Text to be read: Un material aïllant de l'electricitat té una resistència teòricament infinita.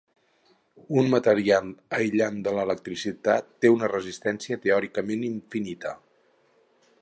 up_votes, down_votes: 2, 2